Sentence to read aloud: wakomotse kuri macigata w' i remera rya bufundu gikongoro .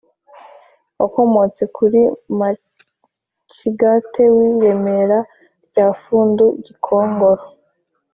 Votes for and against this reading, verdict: 2, 1, accepted